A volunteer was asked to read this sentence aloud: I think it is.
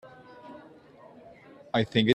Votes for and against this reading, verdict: 0, 2, rejected